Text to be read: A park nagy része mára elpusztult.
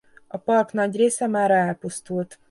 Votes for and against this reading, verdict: 2, 0, accepted